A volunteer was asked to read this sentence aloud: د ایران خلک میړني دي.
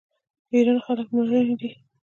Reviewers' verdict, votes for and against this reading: rejected, 1, 2